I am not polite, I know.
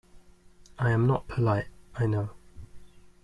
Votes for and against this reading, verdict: 2, 0, accepted